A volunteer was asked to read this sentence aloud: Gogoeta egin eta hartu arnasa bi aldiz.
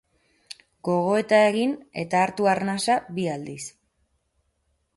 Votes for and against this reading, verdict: 4, 2, accepted